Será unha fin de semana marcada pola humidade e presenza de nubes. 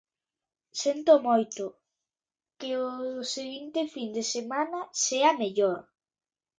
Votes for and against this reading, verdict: 0, 2, rejected